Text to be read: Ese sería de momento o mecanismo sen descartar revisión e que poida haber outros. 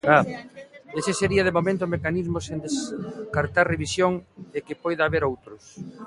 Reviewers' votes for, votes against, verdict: 0, 2, rejected